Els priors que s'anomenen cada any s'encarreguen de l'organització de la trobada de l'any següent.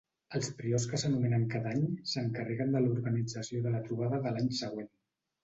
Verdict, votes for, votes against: accepted, 2, 0